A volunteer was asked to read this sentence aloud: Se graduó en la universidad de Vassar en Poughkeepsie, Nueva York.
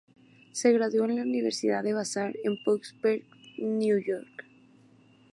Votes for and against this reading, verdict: 2, 0, accepted